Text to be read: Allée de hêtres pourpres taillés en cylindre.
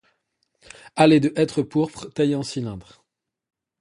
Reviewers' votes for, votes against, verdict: 2, 0, accepted